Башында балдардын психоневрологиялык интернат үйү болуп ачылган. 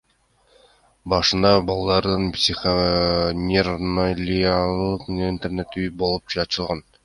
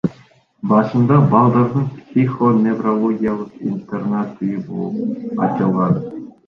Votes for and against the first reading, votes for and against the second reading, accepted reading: 0, 2, 2, 0, second